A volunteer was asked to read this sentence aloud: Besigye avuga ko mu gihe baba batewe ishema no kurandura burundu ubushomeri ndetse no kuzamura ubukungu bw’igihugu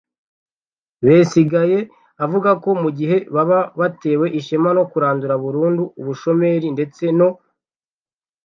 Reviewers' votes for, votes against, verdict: 1, 2, rejected